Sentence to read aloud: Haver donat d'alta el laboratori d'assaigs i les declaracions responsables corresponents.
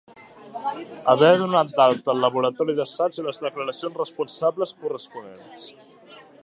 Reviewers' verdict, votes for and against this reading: accepted, 2, 1